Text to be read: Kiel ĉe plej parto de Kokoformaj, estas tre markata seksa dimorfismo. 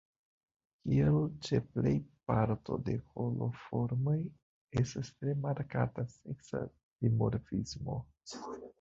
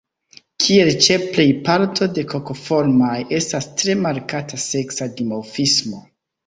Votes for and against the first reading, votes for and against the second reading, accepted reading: 0, 2, 2, 0, second